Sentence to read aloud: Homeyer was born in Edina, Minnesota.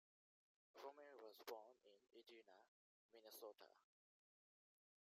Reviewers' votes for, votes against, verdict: 0, 2, rejected